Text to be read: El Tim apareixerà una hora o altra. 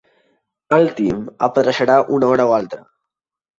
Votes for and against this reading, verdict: 3, 0, accepted